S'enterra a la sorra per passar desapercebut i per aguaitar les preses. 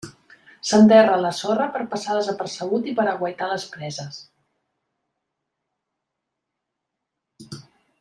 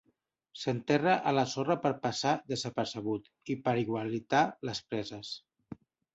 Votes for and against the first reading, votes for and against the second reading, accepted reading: 3, 0, 0, 2, first